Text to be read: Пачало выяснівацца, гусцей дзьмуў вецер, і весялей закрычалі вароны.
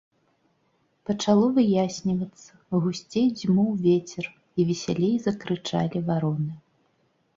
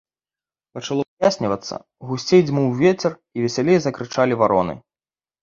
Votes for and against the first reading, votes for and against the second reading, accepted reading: 3, 0, 1, 2, first